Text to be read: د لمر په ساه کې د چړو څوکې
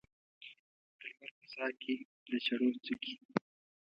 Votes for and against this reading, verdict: 1, 2, rejected